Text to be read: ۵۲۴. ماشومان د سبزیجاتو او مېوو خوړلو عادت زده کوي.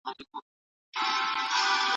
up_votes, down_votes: 0, 2